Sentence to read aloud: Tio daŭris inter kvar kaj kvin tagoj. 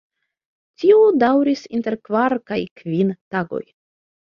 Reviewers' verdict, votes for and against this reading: accepted, 2, 0